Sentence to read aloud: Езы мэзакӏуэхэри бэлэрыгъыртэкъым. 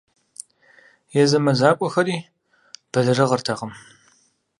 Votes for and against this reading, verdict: 4, 0, accepted